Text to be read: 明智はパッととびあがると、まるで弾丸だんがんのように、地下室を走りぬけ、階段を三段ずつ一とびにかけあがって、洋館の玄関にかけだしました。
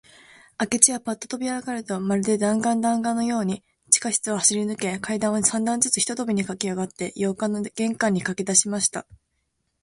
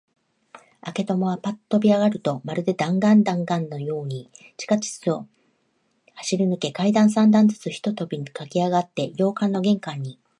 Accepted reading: first